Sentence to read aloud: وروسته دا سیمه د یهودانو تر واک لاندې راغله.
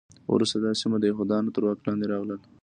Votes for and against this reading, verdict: 2, 1, accepted